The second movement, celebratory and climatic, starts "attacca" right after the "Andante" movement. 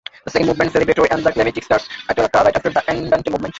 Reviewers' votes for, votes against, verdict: 0, 2, rejected